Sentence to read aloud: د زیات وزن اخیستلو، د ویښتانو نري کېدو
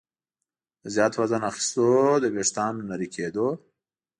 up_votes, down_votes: 2, 0